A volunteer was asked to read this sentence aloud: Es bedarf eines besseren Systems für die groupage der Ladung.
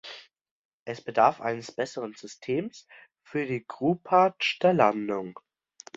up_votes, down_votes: 0, 2